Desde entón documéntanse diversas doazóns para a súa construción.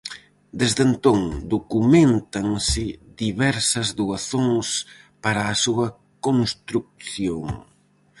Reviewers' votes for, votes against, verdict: 2, 2, rejected